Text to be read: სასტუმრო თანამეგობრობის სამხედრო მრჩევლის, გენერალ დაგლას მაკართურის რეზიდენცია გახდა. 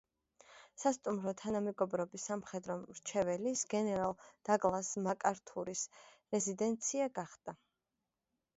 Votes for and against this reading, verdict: 2, 1, accepted